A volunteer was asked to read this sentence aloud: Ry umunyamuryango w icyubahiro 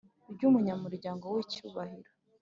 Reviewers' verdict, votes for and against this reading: accepted, 2, 0